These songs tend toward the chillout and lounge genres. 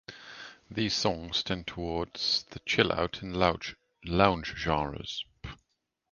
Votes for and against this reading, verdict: 2, 1, accepted